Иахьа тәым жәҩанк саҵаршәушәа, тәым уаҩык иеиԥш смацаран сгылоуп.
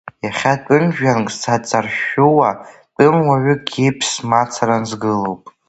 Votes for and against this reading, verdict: 0, 2, rejected